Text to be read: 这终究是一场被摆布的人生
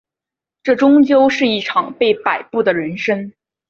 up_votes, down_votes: 3, 0